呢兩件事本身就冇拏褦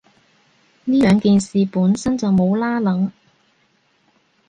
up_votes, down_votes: 2, 0